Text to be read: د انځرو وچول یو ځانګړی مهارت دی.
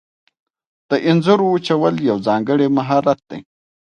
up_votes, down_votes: 2, 0